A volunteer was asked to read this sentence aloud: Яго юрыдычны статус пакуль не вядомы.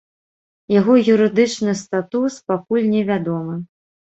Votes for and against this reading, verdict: 0, 2, rejected